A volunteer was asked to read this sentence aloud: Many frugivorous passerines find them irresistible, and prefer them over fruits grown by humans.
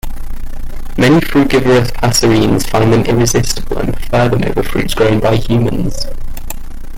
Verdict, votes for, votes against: rejected, 1, 2